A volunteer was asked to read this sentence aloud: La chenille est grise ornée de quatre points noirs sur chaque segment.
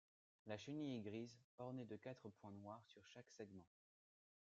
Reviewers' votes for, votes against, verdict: 2, 1, accepted